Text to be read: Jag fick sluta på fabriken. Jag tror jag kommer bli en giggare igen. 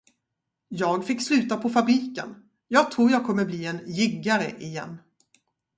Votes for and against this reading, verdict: 2, 2, rejected